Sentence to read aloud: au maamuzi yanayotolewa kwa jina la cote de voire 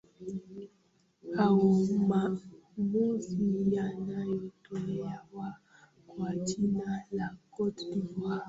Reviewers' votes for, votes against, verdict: 0, 2, rejected